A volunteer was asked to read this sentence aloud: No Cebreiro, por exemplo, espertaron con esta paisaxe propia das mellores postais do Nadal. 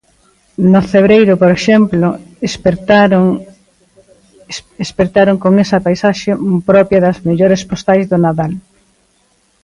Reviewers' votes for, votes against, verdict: 0, 2, rejected